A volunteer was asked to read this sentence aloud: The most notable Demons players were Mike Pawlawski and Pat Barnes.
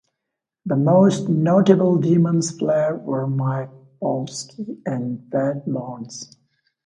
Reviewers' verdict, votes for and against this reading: rejected, 1, 2